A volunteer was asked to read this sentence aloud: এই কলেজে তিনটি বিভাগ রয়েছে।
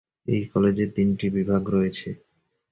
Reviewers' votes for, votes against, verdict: 8, 0, accepted